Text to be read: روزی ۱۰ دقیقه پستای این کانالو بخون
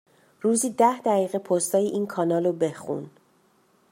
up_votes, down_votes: 0, 2